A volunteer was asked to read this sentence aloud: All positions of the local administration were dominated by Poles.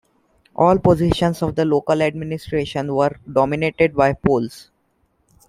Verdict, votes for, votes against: accepted, 2, 0